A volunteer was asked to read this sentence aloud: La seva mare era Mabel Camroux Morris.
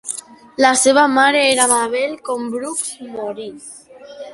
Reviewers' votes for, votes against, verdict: 1, 2, rejected